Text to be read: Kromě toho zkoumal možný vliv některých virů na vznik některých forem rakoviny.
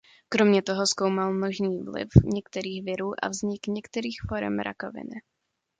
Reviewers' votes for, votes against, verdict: 1, 2, rejected